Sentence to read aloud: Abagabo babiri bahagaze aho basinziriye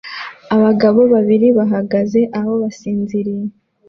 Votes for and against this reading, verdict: 2, 1, accepted